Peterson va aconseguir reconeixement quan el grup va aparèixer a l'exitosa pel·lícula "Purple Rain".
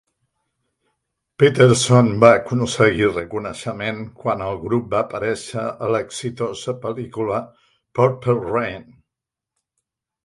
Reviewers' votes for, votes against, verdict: 2, 0, accepted